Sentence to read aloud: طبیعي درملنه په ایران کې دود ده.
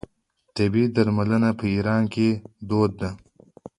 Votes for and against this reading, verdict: 2, 1, accepted